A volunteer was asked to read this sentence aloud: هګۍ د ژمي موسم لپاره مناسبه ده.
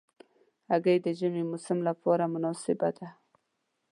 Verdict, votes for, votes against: accepted, 2, 0